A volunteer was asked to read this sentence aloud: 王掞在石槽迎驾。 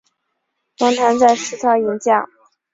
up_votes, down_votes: 0, 2